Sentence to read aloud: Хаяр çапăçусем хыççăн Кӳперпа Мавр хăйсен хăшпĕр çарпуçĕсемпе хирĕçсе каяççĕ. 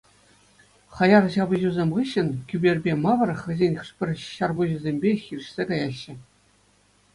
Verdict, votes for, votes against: accepted, 2, 0